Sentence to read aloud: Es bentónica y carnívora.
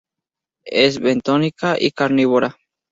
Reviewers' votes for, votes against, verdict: 2, 0, accepted